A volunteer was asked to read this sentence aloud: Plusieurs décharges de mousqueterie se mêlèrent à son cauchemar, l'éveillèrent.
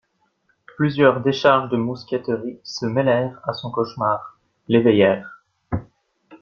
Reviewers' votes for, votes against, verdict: 2, 0, accepted